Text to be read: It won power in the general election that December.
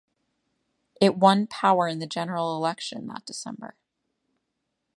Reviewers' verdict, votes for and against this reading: rejected, 1, 2